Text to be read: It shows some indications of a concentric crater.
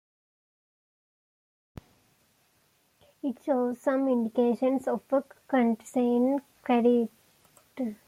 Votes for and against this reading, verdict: 0, 2, rejected